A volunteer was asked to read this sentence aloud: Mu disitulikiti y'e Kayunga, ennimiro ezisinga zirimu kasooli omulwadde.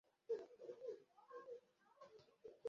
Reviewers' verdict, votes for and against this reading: rejected, 0, 2